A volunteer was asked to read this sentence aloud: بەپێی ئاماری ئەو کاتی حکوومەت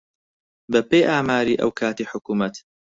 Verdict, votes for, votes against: accepted, 4, 0